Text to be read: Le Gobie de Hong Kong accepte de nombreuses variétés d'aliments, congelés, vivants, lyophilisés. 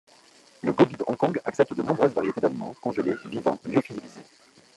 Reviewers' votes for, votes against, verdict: 0, 2, rejected